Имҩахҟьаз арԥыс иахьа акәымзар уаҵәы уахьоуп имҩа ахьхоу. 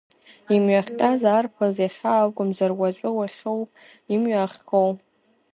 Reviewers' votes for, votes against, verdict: 1, 2, rejected